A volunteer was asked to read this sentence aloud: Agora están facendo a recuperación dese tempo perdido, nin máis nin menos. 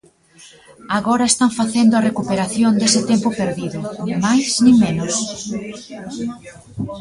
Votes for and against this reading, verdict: 1, 2, rejected